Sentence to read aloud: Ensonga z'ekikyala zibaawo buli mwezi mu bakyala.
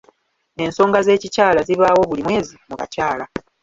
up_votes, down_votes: 1, 2